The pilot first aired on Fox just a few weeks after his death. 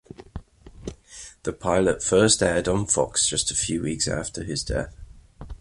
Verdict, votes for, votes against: accepted, 2, 0